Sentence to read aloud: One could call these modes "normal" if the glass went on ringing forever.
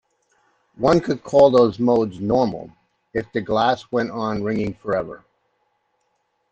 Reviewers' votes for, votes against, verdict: 1, 2, rejected